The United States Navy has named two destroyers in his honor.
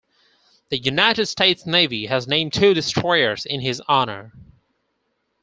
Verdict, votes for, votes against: accepted, 4, 0